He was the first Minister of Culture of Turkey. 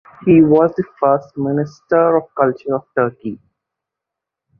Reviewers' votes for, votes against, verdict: 2, 0, accepted